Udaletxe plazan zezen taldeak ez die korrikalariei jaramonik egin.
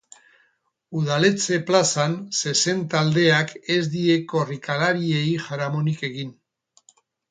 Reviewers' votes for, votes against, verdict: 4, 2, accepted